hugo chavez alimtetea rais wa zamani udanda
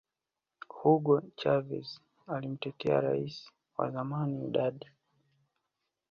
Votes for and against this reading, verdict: 2, 0, accepted